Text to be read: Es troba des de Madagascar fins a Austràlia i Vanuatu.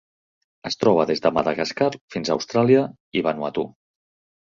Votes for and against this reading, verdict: 3, 0, accepted